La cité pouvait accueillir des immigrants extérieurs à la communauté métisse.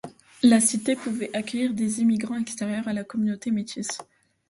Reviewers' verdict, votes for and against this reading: accepted, 2, 0